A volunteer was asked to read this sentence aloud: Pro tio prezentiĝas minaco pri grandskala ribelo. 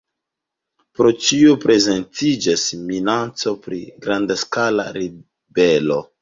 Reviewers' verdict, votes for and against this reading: rejected, 1, 2